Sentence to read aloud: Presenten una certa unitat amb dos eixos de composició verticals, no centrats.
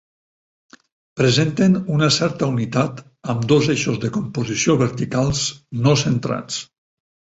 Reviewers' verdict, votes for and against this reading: accepted, 4, 0